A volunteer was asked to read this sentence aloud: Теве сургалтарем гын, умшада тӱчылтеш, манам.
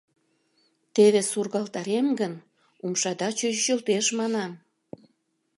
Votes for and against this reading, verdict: 0, 2, rejected